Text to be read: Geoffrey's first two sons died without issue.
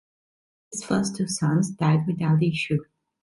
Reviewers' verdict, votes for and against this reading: rejected, 1, 2